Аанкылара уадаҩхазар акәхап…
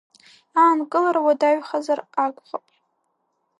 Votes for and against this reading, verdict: 2, 1, accepted